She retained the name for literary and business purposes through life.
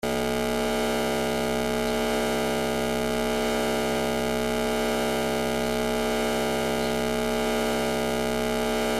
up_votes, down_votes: 0, 2